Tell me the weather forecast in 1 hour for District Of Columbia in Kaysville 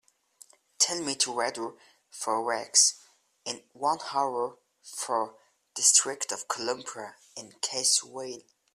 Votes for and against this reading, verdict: 0, 2, rejected